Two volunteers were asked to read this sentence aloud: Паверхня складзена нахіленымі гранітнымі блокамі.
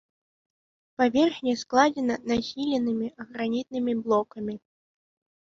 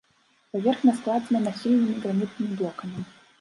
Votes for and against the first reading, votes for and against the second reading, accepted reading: 2, 1, 0, 2, first